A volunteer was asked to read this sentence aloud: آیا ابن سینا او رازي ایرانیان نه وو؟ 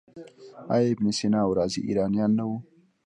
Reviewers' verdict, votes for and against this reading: rejected, 0, 2